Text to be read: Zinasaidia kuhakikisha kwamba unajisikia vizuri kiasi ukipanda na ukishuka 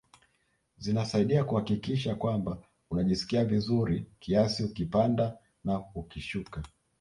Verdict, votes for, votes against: rejected, 1, 2